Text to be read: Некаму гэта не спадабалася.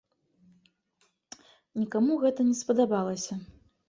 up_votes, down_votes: 0, 2